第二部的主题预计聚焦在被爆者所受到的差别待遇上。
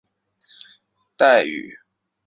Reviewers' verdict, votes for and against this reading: rejected, 0, 2